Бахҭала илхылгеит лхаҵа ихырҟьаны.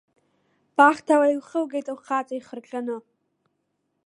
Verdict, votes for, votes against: accepted, 2, 0